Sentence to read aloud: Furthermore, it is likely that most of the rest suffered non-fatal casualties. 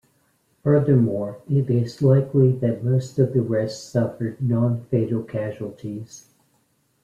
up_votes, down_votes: 2, 0